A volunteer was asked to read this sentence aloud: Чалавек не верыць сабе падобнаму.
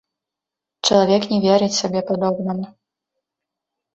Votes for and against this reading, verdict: 2, 0, accepted